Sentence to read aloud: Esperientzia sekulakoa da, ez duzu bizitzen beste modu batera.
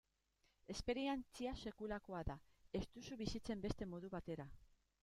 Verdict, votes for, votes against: rejected, 1, 2